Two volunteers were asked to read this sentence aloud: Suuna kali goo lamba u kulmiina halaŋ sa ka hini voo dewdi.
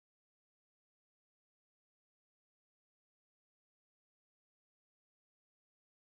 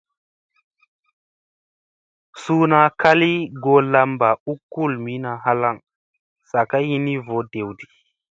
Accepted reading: second